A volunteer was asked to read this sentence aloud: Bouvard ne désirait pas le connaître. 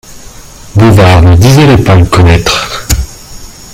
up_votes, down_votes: 1, 2